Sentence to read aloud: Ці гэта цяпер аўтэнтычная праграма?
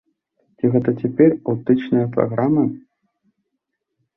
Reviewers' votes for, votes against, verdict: 0, 2, rejected